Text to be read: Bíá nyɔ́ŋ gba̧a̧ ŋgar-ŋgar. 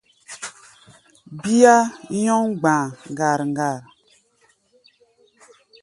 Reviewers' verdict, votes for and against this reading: accepted, 2, 0